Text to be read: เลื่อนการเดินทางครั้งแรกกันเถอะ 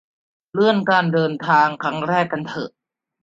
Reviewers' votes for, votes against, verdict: 2, 0, accepted